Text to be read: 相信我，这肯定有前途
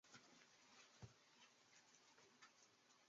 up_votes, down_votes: 0, 2